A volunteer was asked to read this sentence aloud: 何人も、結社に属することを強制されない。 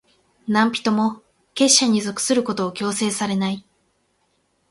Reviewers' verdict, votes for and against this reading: accepted, 8, 0